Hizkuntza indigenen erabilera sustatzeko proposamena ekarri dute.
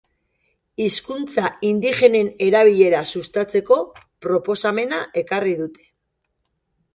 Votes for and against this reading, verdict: 2, 1, accepted